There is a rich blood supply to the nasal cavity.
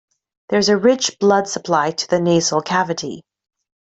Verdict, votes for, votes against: accepted, 2, 0